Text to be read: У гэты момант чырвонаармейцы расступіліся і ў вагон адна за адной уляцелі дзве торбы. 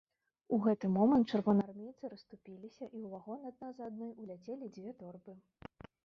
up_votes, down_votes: 1, 2